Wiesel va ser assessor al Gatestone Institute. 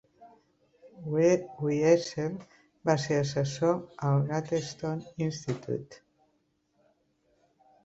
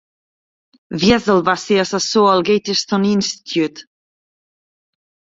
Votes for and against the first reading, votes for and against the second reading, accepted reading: 0, 2, 2, 0, second